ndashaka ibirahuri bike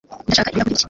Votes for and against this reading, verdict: 1, 2, rejected